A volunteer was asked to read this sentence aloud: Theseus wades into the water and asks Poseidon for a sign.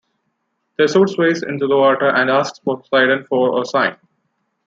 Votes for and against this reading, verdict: 1, 2, rejected